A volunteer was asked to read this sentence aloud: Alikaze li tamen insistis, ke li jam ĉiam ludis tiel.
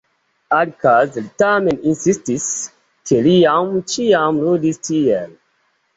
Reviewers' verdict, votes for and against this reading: accepted, 2, 0